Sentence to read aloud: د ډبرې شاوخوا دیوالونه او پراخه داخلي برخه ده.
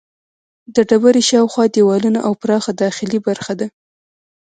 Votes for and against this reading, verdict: 1, 2, rejected